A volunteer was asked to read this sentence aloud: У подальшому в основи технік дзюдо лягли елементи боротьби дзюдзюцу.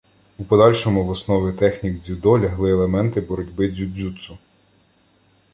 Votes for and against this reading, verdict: 2, 0, accepted